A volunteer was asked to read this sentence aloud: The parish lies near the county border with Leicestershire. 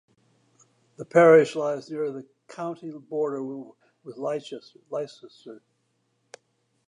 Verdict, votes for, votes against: rejected, 1, 2